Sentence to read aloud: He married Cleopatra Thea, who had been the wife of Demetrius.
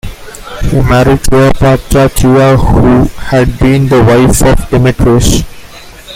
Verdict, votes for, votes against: rejected, 0, 2